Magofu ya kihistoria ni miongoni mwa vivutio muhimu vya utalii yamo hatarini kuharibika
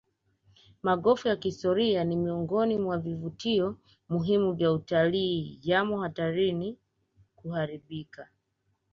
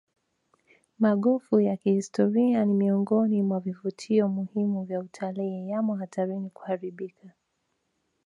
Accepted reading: first